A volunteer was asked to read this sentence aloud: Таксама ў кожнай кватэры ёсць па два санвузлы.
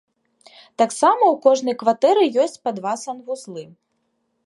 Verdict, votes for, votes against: accepted, 2, 0